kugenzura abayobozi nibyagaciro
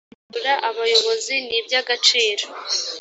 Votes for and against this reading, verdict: 2, 4, rejected